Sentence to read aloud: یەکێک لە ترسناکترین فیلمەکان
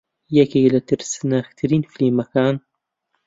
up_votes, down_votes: 2, 0